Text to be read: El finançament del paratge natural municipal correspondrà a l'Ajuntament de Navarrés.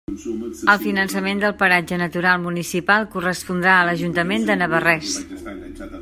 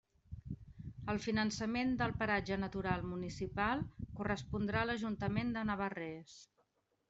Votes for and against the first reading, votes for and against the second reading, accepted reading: 0, 2, 3, 0, second